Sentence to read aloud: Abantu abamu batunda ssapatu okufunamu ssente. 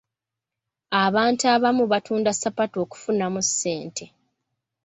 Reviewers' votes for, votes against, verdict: 2, 0, accepted